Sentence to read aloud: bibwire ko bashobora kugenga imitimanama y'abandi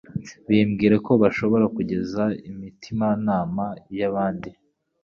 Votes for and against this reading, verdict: 0, 2, rejected